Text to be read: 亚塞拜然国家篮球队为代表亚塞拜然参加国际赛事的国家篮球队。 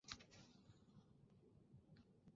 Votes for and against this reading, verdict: 0, 2, rejected